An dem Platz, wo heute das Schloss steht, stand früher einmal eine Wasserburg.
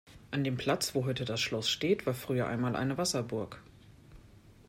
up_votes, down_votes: 1, 2